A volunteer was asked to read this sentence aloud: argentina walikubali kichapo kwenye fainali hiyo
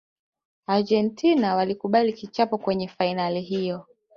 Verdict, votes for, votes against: accepted, 3, 1